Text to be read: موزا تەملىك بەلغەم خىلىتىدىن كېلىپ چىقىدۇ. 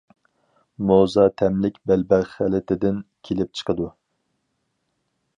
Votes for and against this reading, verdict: 2, 2, rejected